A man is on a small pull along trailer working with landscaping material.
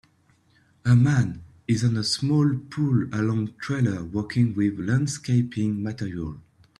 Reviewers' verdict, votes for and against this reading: accepted, 2, 0